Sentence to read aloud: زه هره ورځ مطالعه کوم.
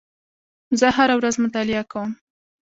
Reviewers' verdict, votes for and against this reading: accepted, 2, 1